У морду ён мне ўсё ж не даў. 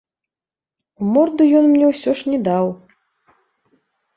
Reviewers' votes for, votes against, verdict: 2, 0, accepted